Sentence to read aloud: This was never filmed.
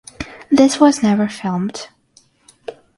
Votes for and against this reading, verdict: 6, 0, accepted